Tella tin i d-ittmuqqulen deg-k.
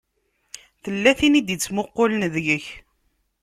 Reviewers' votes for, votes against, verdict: 2, 0, accepted